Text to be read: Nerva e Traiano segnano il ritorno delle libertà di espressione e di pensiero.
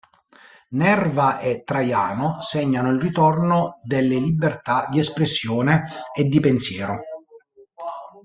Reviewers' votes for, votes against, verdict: 2, 0, accepted